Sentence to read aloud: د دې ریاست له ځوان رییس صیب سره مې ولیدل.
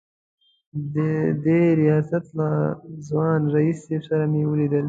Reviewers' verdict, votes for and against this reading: accepted, 2, 0